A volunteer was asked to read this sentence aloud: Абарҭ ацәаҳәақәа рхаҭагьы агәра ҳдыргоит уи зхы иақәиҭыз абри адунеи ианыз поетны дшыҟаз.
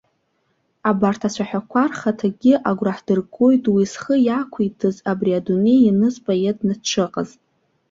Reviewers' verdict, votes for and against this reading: accepted, 2, 0